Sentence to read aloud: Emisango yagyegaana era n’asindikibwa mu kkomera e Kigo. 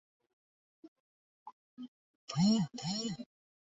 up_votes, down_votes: 0, 2